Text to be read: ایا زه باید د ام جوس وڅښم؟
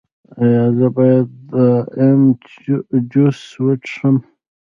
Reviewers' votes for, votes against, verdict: 0, 2, rejected